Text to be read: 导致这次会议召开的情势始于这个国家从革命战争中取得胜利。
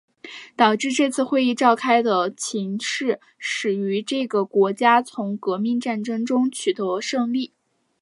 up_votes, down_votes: 4, 1